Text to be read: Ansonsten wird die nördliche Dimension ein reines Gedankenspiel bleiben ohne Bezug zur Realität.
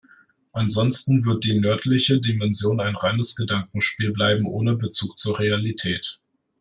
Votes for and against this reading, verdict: 2, 0, accepted